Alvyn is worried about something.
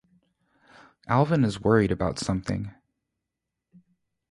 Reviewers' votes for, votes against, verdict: 2, 0, accepted